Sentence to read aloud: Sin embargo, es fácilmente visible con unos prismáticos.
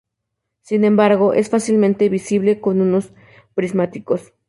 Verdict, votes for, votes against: accepted, 2, 0